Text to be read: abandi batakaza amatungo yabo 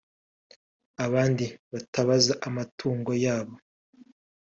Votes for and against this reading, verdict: 1, 2, rejected